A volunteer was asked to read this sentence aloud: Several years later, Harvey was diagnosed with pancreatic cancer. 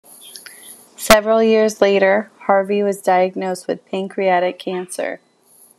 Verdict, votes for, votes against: accepted, 2, 0